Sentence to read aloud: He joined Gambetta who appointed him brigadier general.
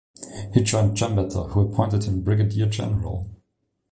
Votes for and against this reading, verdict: 0, 2, rejected